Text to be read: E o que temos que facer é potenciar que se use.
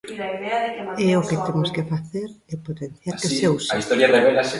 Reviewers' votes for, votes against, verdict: 0, 2, rejected